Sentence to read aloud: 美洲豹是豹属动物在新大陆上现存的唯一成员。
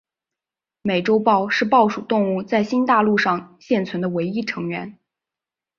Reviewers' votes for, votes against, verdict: 2, 0, accepted